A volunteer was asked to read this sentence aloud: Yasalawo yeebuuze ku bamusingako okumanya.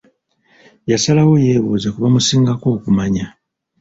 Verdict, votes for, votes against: rejected, 0, 2